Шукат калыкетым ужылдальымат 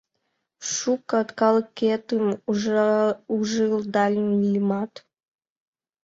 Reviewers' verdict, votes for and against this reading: rejected, 0, 2